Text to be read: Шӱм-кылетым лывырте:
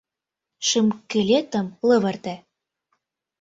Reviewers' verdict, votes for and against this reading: rejected, 0, 2